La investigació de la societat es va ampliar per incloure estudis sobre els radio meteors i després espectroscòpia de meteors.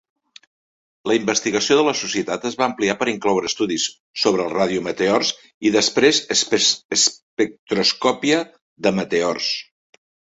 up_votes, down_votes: 0, 2